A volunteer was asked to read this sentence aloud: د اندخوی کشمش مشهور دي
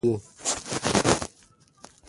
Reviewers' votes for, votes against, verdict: 1, 2, rejected